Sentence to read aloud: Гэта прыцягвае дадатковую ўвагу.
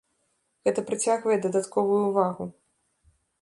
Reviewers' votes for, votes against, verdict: 2, 1, accepted